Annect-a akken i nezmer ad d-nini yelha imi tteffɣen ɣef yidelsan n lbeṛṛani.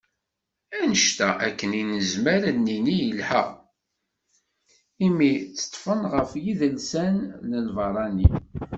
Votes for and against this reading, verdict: 1, 2, rejected